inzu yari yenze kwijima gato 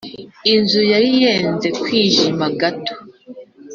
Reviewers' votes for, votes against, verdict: 3, 0, accepted